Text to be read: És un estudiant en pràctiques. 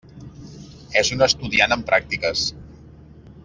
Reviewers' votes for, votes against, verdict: 3, 0, accepted